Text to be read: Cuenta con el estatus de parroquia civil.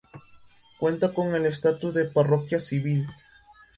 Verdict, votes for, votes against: accepted, 2, 0